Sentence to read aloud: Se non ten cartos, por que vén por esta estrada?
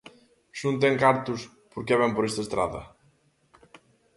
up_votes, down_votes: 2, 0